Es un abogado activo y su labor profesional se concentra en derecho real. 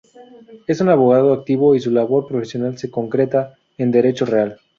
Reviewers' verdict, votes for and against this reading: rejected, 2, 2